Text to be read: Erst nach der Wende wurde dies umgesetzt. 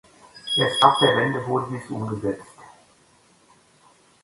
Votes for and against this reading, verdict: 1, 2, rejected